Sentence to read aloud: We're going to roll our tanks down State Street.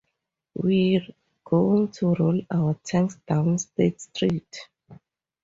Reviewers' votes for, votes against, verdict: 2, 0, accepted